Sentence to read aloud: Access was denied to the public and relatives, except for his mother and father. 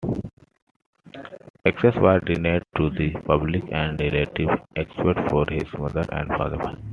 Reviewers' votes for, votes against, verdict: 0, 2, rejected